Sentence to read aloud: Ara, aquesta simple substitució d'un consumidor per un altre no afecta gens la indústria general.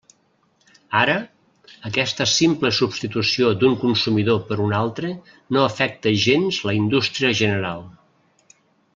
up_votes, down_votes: 3, 0